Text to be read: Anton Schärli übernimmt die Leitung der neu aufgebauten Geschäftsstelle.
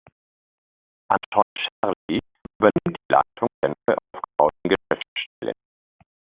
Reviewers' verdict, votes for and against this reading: rejected, 0, 2